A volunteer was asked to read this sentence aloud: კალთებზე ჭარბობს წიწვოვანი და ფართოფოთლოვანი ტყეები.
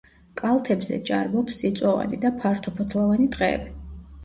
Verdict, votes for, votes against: accepted, 2, 0